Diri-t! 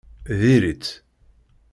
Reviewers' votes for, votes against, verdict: 1, 2, rejected